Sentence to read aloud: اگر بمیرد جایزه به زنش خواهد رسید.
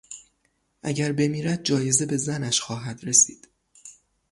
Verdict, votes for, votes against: accepted, 3, 0